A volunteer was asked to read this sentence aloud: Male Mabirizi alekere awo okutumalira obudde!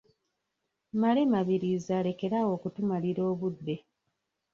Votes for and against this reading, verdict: 0, 2, rejected